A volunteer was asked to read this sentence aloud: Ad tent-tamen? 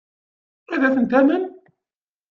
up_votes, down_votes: 1, 2